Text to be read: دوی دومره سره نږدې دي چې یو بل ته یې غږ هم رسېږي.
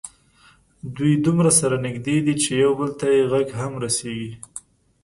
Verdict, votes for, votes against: accepted, 2, 0